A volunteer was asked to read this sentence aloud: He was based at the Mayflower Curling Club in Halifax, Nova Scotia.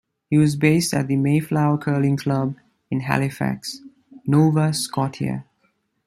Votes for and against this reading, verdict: 1, 2, rejected